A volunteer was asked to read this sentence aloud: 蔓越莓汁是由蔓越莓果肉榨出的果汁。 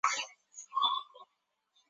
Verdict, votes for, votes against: rejected, 0, 2